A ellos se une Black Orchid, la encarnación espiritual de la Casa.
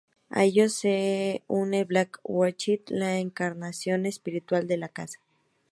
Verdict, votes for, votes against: accepted, 2, 0